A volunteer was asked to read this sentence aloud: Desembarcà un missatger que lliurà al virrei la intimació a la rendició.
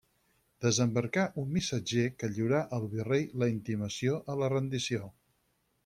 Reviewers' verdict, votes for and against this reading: accepted, 4, 0